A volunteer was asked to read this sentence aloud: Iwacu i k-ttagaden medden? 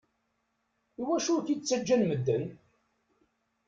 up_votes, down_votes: 0, 2